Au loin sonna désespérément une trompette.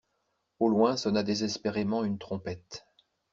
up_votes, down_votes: 2, 0